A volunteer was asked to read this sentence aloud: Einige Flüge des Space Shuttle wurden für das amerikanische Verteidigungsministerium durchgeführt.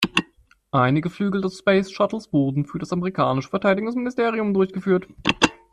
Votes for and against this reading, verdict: 1, 2, rejected